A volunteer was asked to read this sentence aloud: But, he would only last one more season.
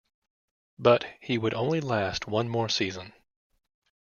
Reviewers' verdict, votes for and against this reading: accepted, 2, 0